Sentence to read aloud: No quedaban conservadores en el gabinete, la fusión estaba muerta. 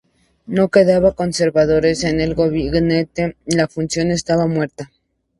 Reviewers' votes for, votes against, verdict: 0, 2, rejected